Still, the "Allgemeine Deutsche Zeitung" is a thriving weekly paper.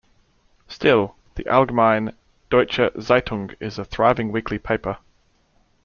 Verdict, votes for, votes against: accepted, 2, 0